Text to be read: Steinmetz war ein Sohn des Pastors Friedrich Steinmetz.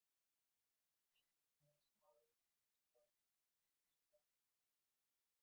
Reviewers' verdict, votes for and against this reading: rejected, 0, 2